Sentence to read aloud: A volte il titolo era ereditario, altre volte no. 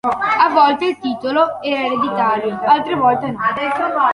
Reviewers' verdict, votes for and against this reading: rejected, 1, 3